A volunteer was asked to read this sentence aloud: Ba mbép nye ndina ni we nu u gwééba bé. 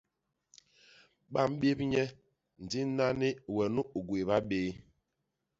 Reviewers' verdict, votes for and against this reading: rejected, 1, 2